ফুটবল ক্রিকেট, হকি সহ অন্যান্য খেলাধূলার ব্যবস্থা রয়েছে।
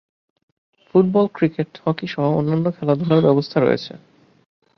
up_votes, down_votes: 0, 2